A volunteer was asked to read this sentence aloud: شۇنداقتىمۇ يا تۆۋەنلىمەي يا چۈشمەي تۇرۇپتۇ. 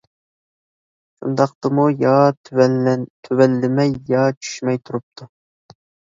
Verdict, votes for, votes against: rejected, 0, 4